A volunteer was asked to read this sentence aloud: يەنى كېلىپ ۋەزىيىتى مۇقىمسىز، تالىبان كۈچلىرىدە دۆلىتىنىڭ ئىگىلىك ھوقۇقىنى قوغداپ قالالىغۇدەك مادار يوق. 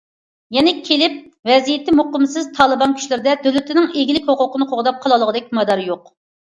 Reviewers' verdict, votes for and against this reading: accepted, 2, 0